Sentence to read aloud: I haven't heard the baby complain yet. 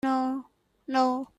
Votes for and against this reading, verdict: 0, 4, rejected